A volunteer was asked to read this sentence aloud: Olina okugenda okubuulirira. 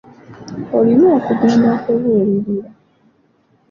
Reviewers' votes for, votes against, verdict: 2, 1, accepted